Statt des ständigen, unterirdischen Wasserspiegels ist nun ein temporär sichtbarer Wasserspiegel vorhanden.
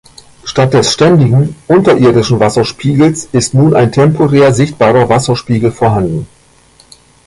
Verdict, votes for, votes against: accepted, 2, 1